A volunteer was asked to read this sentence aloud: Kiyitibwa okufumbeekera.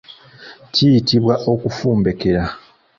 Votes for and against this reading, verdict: 0, 2, rejected